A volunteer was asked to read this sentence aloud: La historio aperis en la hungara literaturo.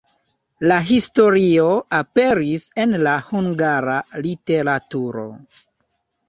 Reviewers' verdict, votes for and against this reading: rejected, 1, 2